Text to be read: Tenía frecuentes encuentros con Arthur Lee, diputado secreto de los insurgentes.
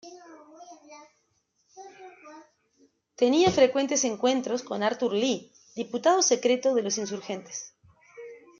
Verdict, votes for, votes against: accepted, 2, 0